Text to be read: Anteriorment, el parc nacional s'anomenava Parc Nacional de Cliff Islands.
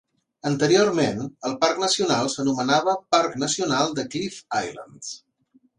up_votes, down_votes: 3, 0